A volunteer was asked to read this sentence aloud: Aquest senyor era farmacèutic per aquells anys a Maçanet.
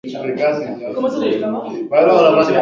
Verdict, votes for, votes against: rejected, 0, 2